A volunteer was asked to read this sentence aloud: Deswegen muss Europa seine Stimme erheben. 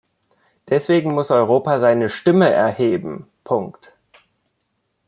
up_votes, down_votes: 1, 2